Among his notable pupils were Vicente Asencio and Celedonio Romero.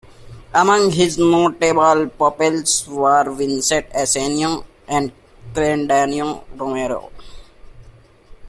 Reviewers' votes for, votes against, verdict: 1, 2, rejected